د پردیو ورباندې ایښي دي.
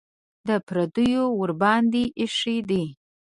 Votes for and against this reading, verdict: 1, 2, rejected